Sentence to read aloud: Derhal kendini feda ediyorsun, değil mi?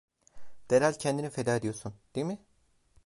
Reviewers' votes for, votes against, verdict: 1, 2, rejected